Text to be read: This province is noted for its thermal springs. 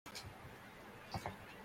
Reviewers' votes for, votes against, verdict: 0, 2, rejected